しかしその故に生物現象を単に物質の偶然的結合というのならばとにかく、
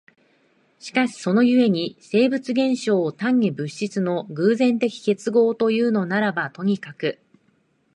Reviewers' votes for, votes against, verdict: 2, 0, accepted